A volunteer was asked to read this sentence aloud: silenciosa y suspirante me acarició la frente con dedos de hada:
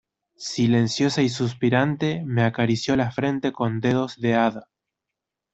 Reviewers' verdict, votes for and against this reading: accepted, 2, 0